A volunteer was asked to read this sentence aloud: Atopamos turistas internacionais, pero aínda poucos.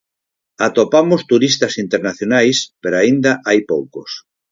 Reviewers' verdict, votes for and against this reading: rejected, 0, 4